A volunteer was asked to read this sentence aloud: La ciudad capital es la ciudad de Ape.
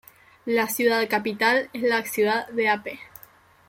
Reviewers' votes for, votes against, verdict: 2, 0, accepted